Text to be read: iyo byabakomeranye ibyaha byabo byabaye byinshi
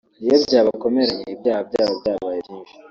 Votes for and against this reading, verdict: 2, 1, accepted